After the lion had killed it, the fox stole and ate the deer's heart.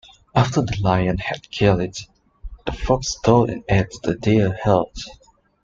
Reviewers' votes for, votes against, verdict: 1, 2, rejected